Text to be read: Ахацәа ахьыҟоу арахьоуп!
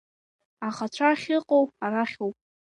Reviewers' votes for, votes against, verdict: 1, 2, rejected